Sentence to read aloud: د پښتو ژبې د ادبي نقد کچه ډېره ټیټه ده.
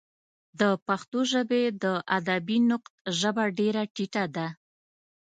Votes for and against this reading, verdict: 1, 2, rejected